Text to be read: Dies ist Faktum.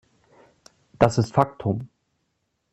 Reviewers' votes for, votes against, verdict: 0, 2, rejected